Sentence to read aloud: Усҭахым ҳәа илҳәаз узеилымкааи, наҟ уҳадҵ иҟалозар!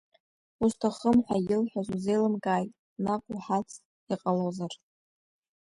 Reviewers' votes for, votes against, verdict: 2, 1, accepted